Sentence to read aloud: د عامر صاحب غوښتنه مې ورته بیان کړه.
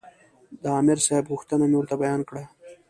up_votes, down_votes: 2, 0